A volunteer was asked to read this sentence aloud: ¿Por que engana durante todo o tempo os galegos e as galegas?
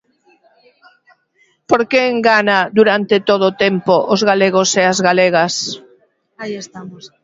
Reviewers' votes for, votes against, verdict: 0, 2, rejected